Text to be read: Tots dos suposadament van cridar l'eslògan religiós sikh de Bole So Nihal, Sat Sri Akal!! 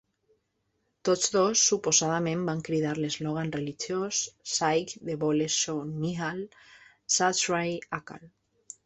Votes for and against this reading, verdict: 1, 2, rejected